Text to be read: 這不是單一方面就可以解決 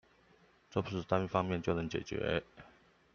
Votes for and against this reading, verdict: 0, 2, rejected